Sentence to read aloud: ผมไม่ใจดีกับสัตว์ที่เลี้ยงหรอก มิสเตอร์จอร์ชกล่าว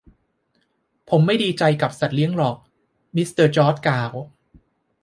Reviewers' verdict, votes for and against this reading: rejected, 1, 2